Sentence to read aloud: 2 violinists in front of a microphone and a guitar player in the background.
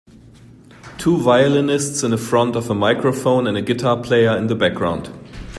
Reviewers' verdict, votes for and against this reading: rejected, 0, 2